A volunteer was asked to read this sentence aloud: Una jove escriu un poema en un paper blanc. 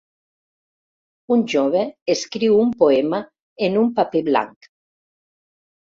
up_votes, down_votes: 0, 2